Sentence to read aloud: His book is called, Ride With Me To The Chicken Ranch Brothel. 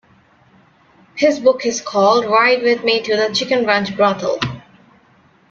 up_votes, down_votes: 2, 1